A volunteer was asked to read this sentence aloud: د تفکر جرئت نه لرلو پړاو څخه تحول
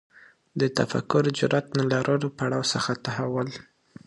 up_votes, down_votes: 2, 0